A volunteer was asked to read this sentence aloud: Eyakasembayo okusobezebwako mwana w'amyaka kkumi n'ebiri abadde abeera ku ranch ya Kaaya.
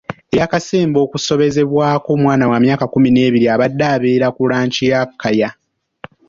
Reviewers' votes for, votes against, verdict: 1, 3, rejected